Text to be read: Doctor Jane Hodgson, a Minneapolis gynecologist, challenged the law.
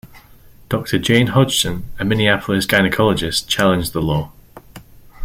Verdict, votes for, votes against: accepted, 2, 0